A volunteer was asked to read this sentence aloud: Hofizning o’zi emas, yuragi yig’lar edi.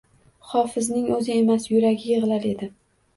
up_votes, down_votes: 2, 0